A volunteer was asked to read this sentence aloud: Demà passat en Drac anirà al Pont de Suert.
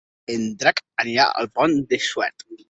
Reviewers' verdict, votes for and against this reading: rejected, 0, 2